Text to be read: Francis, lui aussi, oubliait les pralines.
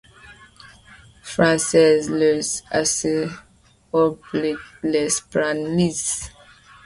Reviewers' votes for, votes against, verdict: 1, 2, rejected